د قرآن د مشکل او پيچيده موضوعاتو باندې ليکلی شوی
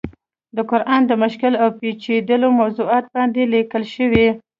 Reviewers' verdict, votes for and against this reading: rejected, 1, 2